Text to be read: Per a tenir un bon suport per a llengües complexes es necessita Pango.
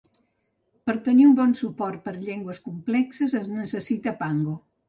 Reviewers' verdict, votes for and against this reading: rejected, 0, 2